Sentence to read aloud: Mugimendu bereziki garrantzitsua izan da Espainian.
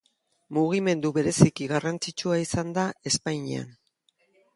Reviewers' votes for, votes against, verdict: 3, 0, accepted